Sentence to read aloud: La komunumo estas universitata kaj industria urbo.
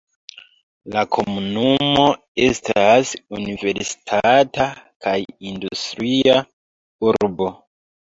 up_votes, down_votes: 1, 2